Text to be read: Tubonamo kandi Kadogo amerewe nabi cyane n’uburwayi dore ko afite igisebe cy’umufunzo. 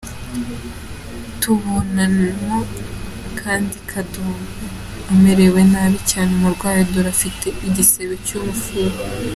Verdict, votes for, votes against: accepted, 2, 1